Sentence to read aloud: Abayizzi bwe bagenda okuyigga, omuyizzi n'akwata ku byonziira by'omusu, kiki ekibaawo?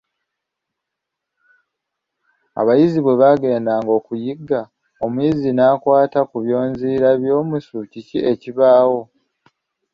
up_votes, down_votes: 3, 1